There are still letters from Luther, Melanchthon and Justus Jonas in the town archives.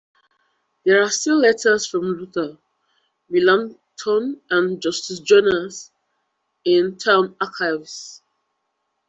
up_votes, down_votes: 0, 2